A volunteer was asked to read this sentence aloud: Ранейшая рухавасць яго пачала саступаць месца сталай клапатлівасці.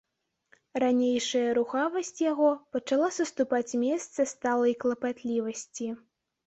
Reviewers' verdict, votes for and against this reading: accepted, 2, 0